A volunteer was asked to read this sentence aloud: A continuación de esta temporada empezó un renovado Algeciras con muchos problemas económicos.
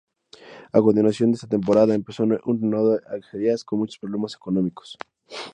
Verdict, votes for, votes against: rejected, 0, 2